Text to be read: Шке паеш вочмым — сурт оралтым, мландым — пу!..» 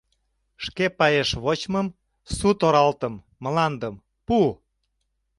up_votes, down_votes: 0, 2